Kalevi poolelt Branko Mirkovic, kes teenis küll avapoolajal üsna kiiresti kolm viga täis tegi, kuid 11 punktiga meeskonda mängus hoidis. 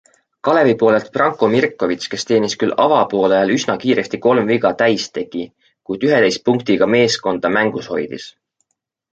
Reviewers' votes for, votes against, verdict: 0, 2, rejected